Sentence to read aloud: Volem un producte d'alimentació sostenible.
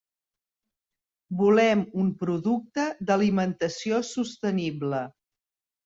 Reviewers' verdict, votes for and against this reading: accepted, 4, 0